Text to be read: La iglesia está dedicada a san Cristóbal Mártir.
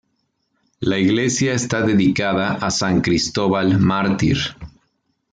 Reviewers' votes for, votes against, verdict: 2, 0, accepted